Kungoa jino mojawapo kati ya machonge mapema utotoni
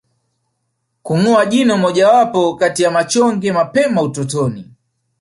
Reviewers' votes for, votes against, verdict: 2, 0, accepted